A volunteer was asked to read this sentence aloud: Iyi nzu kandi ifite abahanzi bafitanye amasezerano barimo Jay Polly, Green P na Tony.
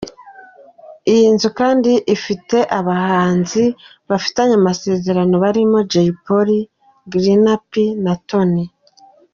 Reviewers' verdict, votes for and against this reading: accepted, 2, 1